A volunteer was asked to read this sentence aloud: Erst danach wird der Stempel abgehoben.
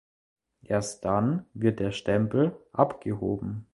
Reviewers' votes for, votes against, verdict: 0, 2, rejected